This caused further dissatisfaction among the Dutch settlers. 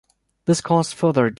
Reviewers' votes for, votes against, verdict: 0, 2, rejected